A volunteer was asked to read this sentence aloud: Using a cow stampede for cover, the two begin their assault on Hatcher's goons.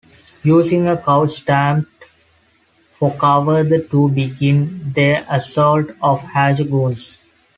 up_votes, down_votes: 0, 2